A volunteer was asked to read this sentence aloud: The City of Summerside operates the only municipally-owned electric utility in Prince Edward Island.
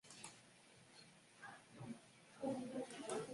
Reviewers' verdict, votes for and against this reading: rejected, 0, 2